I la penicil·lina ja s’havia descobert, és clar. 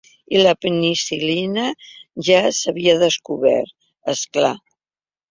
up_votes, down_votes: 2, 0